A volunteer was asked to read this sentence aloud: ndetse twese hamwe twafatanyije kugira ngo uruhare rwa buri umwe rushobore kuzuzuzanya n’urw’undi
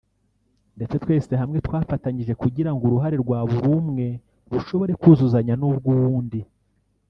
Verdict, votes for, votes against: rejected, 1, 2